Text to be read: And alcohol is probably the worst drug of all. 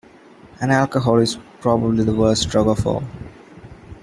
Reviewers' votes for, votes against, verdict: 2, 0, accepted